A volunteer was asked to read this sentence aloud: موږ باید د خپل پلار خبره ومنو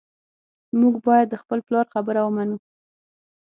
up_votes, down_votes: 6, 0